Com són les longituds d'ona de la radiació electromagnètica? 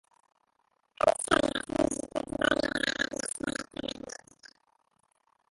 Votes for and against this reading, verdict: 0, 4, rejected